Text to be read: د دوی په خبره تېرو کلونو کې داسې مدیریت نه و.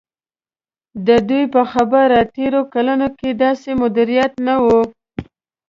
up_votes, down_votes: 2, 0